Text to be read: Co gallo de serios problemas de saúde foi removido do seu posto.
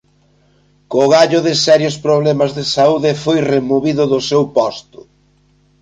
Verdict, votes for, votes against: accepted, 3, 0